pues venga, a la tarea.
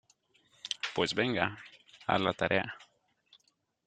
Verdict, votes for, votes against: accepted, 2, 0